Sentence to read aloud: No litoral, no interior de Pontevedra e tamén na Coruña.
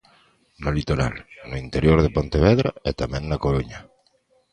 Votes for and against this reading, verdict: 2, 0, accepted